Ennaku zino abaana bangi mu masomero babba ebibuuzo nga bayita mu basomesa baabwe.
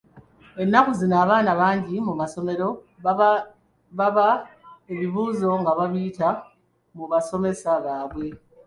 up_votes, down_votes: 0, 2